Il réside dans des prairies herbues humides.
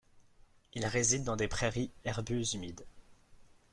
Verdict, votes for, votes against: rejected, 1, 2